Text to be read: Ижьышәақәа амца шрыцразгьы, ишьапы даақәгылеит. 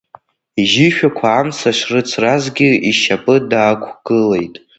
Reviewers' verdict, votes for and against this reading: rejected, 0, 2